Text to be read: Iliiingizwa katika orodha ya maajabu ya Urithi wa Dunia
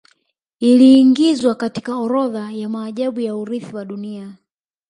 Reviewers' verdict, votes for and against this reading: accepted, 2, 1